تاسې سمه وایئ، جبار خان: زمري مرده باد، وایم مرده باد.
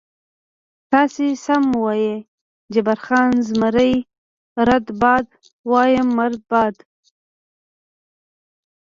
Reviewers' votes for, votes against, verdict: 2, 0, accepted